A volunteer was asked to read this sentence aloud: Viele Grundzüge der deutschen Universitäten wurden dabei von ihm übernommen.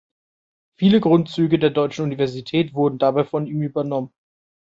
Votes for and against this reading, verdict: 1, 2, rejected